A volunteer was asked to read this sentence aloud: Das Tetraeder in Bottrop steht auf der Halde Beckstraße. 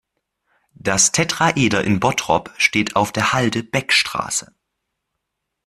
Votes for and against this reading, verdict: 3, 0, accepted